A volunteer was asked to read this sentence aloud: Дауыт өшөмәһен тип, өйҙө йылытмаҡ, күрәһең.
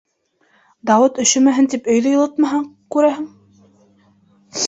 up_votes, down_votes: 1, 2